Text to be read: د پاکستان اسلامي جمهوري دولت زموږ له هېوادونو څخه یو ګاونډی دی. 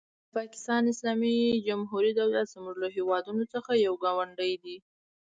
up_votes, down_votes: 2, 1